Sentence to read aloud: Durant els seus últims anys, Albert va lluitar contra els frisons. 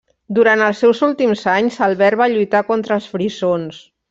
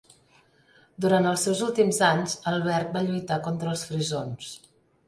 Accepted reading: second